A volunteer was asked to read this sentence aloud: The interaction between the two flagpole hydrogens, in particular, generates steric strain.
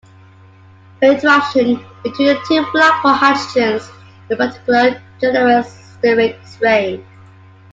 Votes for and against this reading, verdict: 0, 2, rejected